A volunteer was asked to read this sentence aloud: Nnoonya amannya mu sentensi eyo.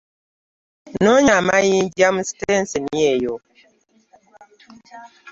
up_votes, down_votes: 0, 2